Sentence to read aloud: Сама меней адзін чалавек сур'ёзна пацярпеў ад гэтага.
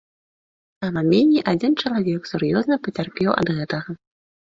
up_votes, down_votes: 2, 1